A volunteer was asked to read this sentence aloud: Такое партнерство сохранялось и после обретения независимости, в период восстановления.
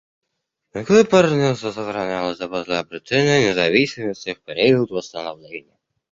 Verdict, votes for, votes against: rejected, 0, 2